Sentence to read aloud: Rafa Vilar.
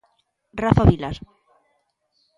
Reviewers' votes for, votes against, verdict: 2, 0, accepted